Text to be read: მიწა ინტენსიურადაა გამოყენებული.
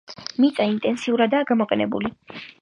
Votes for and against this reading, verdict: 2, 1, accepted